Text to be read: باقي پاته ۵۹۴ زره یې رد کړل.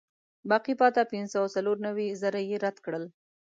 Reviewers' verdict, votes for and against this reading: rejected, 0, 2